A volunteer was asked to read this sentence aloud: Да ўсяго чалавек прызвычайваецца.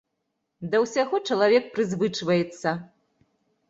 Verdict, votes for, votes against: rejected, 0, 2